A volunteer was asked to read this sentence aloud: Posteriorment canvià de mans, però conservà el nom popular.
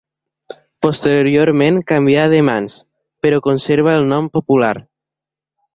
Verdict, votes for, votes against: rejected, 0, 2